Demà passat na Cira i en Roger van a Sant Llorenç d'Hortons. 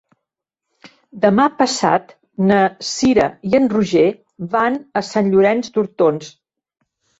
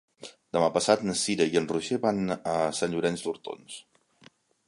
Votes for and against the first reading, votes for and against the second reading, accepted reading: 1, 2, 2, 0, second